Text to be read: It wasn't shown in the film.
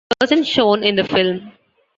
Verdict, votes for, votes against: rejected, 1, 2